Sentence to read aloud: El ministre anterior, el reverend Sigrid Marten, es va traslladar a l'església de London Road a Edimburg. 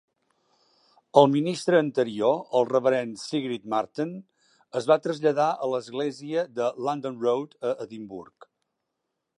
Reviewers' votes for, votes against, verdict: 2, 1, accepted